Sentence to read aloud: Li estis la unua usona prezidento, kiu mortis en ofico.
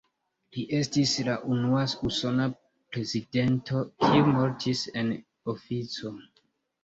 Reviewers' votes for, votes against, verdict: 2, 0, accepted